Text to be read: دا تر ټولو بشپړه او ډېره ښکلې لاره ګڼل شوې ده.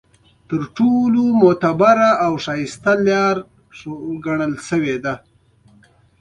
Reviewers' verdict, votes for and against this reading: rejected, 0, 2